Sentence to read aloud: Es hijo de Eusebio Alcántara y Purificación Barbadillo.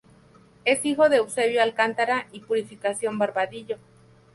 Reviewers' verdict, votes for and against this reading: accepted, 2, 0